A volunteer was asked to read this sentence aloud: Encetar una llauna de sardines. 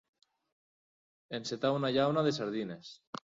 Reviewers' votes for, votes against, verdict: 3, 0, accepted